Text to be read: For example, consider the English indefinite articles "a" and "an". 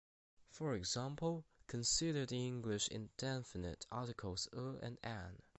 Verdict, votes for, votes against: rejected, 0, 3